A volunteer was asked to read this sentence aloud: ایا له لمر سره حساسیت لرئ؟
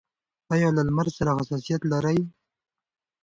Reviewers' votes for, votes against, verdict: 2, 1, accepted